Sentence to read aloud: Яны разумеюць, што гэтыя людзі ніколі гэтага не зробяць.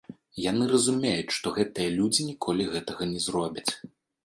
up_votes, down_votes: 1, 2